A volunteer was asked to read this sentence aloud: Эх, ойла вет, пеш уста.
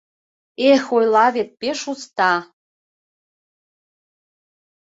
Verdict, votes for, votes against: accepted, 2, 0